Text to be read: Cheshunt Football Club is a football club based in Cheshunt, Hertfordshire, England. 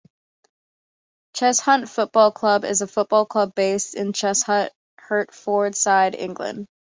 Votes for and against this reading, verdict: 1, 2, rejected